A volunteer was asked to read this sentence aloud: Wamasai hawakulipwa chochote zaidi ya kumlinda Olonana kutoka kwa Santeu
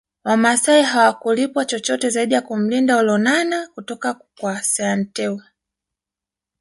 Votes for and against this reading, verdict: 1, 2, rejected